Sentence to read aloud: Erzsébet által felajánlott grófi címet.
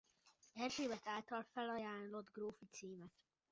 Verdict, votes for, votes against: rejected, 0, 2